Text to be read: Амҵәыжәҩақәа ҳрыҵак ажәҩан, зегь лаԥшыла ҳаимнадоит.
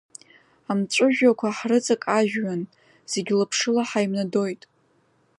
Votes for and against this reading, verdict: 2, 1, accepted